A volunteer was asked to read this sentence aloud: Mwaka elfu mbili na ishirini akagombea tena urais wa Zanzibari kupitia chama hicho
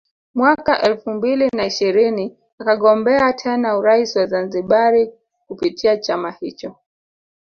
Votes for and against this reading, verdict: 2, 1, accepted